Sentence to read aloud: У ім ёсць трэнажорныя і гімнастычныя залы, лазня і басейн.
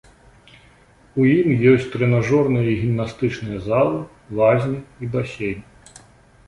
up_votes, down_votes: 2, 0